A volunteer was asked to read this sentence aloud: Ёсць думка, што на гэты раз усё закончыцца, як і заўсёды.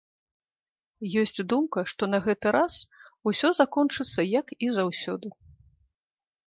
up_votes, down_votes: 2, 0